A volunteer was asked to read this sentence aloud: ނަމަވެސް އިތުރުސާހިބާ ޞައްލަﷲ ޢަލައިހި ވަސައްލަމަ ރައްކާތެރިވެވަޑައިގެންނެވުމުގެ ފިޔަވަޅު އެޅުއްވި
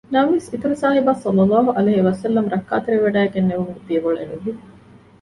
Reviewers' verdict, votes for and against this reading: accepted, 2, 0